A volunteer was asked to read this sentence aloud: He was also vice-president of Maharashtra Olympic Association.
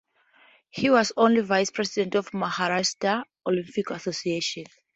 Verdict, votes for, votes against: rejected, 0, 4